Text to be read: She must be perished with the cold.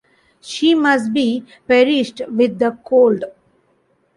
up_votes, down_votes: 1, 2